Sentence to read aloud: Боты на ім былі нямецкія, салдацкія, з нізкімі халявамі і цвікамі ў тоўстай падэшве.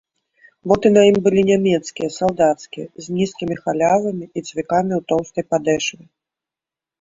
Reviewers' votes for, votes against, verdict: 2, 0, accepted